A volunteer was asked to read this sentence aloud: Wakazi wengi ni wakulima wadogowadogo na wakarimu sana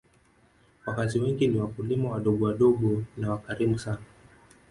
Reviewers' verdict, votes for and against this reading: rejected, 1, 3